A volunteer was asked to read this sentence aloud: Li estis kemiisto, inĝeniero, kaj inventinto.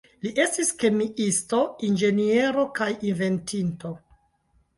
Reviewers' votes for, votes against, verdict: 1, 2, rejected